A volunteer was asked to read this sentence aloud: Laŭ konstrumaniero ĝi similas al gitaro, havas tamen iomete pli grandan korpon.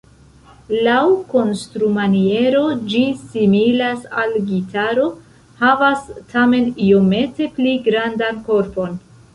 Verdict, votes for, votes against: rejected, 1, 2